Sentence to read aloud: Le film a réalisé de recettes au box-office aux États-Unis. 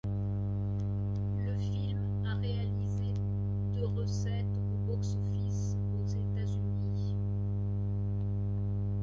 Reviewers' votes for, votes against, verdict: 1, 2, rejected